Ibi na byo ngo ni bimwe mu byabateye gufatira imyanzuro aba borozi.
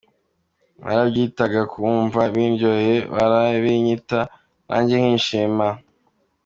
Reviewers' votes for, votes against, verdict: 0, 2, rejected